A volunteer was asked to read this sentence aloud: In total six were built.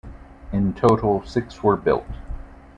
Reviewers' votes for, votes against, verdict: 0, 2, rejected